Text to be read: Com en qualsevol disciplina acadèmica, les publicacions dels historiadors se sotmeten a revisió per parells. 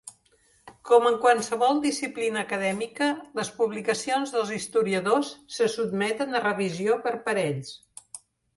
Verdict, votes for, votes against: rejected, 0, 2